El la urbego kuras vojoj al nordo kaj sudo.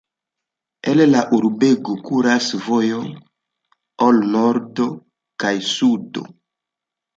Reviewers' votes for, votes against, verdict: 1, 2, rejected